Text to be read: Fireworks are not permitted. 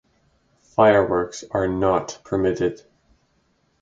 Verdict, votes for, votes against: rejected, 2, 2